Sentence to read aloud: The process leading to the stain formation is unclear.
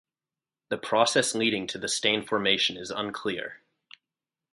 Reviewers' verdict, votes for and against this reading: rejected, 2, 2